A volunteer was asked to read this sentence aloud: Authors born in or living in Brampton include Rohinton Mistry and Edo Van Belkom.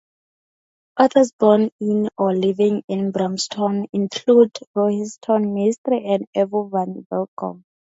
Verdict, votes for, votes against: rejected, 2, 4